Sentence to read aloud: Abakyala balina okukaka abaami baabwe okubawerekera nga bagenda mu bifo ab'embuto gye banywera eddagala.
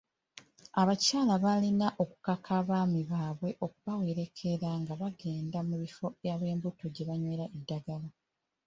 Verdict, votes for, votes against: accepted, 2, 1